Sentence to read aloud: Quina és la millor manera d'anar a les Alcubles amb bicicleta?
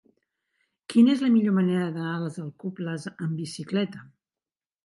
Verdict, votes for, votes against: rejected, 0, 2